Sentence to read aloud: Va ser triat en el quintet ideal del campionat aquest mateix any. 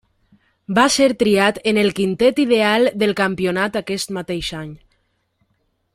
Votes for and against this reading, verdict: 3, 0, accepted